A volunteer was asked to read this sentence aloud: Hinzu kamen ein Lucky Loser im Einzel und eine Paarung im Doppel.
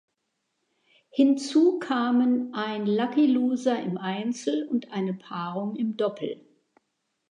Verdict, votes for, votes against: accepted, 2, 0